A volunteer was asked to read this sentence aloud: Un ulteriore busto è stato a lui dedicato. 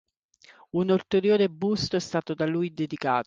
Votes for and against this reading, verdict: 0, 3, rejected